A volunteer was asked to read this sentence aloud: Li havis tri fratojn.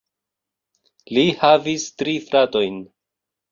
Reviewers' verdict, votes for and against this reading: rejected, 1, 2